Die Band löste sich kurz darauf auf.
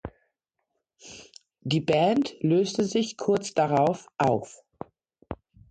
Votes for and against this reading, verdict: 2, 1, accepted